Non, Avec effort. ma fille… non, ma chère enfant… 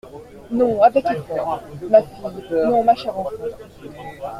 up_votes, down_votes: 1, 2